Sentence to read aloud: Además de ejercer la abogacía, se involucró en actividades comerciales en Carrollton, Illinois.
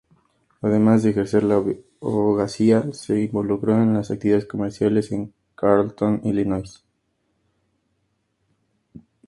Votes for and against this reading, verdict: 2, 0, accepted